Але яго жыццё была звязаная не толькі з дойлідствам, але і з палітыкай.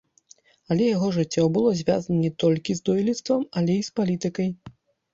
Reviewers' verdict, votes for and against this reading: rejected, 1, 2